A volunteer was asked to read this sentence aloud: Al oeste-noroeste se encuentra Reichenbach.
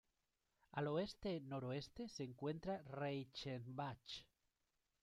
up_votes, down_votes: 2, 0